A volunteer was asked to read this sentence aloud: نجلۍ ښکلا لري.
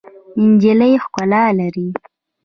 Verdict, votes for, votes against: rejected, 1, 2